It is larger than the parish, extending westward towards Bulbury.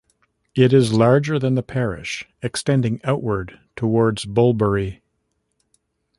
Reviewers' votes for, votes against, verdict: 0, 2, rejected